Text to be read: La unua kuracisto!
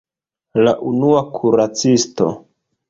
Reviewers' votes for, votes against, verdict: 2, 0, accepted